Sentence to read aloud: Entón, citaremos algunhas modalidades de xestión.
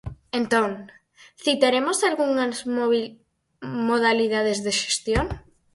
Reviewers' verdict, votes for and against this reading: rejected, 0, 4